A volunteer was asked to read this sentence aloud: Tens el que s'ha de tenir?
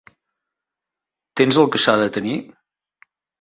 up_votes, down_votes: 5, 0